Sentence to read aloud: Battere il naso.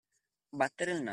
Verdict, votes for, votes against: rejected, 0, 2